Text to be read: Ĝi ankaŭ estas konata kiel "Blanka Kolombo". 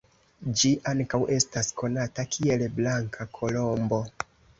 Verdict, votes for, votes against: accepted, 2, 0